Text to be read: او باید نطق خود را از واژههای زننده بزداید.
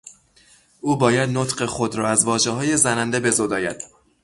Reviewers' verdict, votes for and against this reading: rejected, 0, 3